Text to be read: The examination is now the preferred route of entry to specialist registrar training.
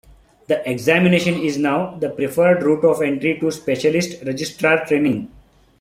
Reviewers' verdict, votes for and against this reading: rejected, 0, 2